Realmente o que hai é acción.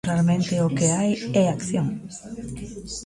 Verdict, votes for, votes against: accepted, 2, 0